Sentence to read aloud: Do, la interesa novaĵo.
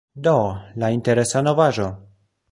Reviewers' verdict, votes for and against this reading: accepted, 2, 0